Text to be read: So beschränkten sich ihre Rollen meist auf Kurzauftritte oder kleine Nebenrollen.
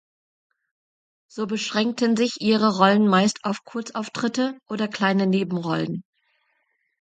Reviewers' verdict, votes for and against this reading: accepted, 2, 0